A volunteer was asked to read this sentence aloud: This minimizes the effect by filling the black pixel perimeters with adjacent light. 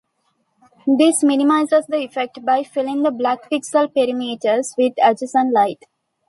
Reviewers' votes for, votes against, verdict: 2, 0, accepted